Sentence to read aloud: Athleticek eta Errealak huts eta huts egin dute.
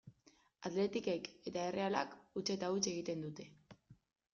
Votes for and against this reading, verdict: 1, 2, rejected